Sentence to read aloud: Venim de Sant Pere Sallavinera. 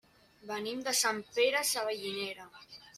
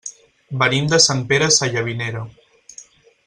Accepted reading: second